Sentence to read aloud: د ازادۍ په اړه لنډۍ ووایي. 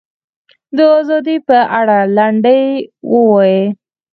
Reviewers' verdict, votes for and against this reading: accepted, 4, 0